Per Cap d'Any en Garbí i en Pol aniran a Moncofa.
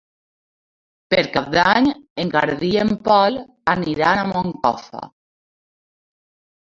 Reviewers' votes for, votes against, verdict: 2, 0, accepted